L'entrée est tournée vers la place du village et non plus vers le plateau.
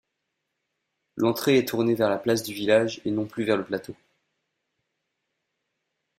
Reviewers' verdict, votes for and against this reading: accepted, 2, 0